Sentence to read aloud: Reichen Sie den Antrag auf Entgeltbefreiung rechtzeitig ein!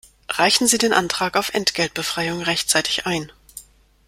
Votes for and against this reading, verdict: 2, 0, accepted